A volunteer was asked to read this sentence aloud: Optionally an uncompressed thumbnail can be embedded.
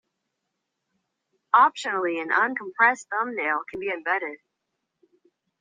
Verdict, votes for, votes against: accepted, 2, 0